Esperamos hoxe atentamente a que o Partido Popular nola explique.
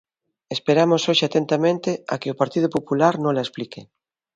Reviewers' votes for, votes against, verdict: 2, 0, accepted